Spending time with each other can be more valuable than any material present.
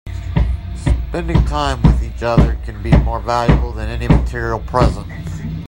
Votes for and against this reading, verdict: 1, 2, rejected